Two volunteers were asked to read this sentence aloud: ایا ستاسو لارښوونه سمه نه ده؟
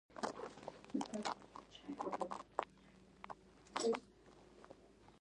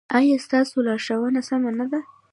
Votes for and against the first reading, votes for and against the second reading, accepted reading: 0, 2, 2, 0, second